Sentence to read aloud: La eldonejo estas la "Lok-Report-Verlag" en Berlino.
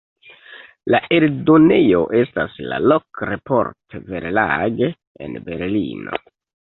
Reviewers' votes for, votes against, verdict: 2, 0, accepted